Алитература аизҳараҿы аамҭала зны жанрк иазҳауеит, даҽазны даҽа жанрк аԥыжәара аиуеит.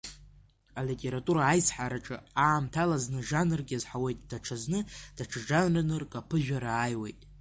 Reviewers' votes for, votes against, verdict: 2, 0, accepted